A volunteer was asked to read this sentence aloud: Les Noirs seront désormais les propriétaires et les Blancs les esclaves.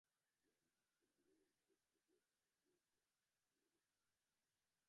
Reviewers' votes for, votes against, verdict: 0, 2, rejected